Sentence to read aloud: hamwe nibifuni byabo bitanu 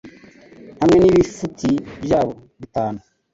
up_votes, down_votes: 1, 2